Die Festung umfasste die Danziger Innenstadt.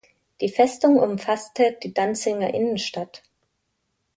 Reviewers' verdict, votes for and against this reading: rejected, 1, 2